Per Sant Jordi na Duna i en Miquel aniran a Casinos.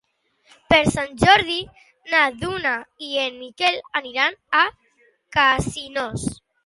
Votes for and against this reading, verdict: 2, 0, accepted